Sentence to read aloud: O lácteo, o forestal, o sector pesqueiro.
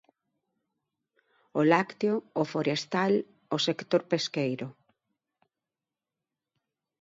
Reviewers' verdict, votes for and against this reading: accepted, 2, 0